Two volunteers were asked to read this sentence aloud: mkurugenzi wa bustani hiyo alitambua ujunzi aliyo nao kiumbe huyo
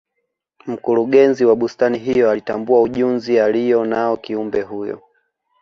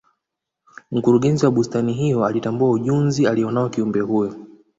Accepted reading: second